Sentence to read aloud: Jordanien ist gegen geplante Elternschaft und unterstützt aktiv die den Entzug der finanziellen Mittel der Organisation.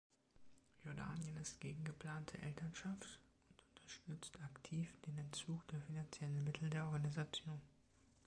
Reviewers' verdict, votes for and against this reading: accepted, 3, 2